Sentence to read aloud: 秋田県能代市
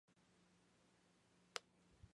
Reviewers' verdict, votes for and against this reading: rejected, 0, 2